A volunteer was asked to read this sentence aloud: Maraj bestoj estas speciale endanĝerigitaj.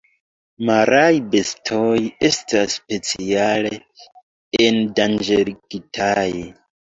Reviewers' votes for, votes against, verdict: 1, 2, rejected